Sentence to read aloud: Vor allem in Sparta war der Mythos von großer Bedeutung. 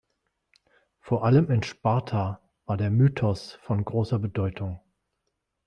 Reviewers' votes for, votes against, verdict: 2, 0, accepted